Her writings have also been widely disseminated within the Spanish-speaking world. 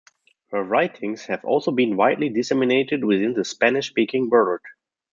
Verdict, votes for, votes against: accepted, 2, 0